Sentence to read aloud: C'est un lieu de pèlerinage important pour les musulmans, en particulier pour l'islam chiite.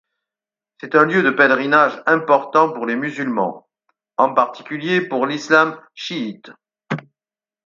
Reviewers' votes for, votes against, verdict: 4, 0, accepted